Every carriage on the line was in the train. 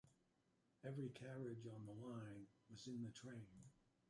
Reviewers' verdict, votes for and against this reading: rejected, 1, 2